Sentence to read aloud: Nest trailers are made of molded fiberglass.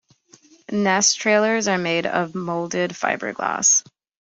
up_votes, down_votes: 2, 0